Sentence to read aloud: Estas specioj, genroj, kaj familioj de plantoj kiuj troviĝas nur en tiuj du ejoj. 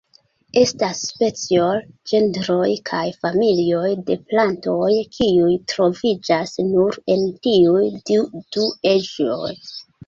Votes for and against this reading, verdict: 2, 1, accepted